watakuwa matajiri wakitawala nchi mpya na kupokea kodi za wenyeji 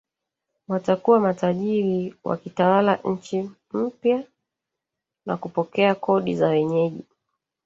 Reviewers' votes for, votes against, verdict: 1, 2, rejected